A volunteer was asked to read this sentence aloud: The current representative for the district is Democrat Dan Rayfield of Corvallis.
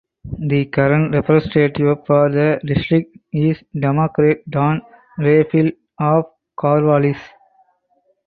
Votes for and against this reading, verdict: 4, 2, accepted